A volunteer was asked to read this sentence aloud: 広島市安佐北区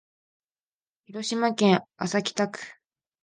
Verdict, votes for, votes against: accepted, 2, 0